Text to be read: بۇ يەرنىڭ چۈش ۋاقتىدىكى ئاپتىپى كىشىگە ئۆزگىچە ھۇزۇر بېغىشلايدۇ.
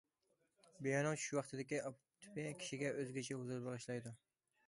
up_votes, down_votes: 1, 2